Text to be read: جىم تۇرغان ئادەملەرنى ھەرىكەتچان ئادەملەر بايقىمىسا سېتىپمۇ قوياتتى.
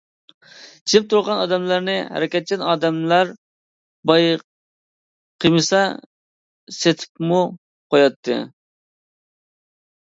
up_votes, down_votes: 1, 2